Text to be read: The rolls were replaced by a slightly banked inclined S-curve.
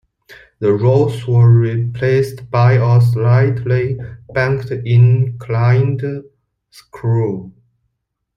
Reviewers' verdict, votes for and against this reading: rejected, 0, 2